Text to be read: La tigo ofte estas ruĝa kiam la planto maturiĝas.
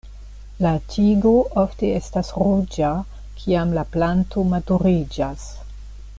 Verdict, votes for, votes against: accepted, 2, 0